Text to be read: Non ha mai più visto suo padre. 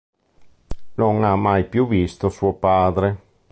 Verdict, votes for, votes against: accepted, 2, 0